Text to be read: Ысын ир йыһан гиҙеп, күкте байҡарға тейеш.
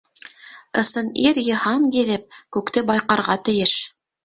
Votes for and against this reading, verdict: 3, 0, accepted